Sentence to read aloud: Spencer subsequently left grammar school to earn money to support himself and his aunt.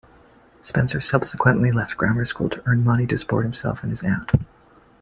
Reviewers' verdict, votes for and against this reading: accepted, 2, 0